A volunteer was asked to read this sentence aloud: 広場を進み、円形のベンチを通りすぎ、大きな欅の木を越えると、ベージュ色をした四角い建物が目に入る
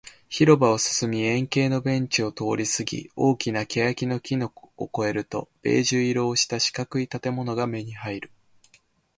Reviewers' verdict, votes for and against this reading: rejected, 2, 2